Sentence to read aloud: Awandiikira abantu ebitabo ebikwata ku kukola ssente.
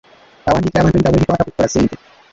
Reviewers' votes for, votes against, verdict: 1, 2, rejected